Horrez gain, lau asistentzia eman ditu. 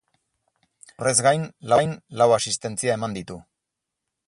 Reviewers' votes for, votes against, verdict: 0, 4, rejected